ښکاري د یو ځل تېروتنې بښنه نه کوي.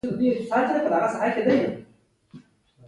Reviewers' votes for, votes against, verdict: 0, 2, rejected